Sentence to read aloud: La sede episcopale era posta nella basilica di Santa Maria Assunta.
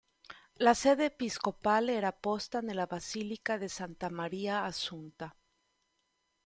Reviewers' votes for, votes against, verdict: 2, 0, accepted